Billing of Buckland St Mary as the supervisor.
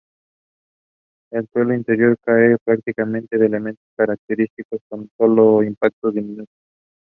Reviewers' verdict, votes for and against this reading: rejected, 0, 2